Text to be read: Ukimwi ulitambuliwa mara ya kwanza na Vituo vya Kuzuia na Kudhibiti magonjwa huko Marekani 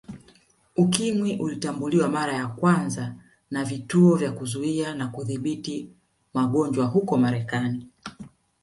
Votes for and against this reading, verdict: 0, 2, rejected